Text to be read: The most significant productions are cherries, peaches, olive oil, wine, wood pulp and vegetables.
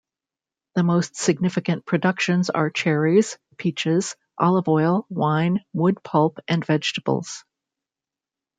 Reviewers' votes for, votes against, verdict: 2, 0, accepted